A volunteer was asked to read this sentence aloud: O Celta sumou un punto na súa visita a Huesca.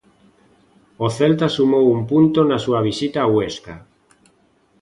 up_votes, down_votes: 2, 0